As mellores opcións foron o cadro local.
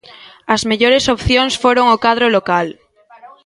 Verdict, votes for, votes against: rejected, 1, 2